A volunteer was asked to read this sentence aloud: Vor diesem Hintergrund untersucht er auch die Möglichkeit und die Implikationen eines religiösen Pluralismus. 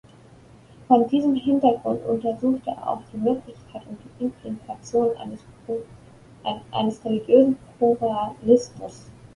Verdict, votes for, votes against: rejected, 0, 2